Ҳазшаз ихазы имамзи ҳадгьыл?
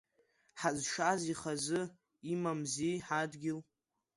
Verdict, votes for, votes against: accepted, 2, 0